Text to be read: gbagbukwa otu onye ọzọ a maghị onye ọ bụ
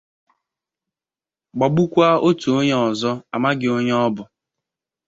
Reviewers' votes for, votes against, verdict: 2, 1, accepted